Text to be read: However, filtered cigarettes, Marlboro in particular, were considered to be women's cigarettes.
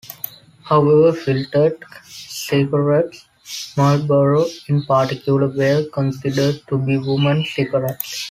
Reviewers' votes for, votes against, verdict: 2, 1, accepted